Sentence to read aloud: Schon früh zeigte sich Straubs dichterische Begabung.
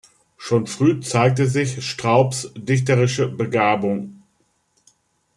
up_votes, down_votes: 2, 0